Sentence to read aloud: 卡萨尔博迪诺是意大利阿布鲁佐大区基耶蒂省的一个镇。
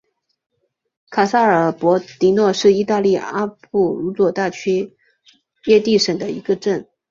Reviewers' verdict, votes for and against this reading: accepted, 6, 1